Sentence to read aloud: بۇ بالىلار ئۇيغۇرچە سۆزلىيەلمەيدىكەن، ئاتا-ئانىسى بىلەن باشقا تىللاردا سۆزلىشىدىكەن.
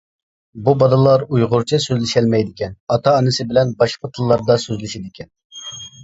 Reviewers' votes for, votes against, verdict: 1, 2, rejected